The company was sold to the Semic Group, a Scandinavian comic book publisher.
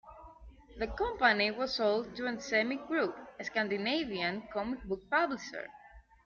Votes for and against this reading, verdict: 0, 2, rejected